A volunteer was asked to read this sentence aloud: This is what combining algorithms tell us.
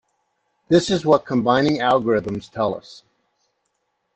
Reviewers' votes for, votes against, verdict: 2, 0, accepted